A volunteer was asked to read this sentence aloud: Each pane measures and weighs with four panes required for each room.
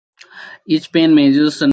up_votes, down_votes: 0, 2